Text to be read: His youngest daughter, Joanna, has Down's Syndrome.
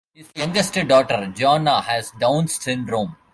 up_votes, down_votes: 0, 2